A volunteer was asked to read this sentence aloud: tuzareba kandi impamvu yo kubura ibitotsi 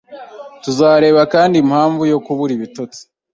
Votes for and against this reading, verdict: 2, 0, accepted